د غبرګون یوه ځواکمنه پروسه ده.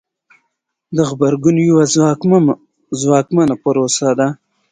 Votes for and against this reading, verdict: 2, 0, accepted